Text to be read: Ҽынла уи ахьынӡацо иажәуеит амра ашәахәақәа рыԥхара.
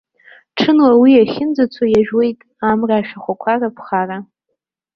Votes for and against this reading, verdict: 2, 0, accepted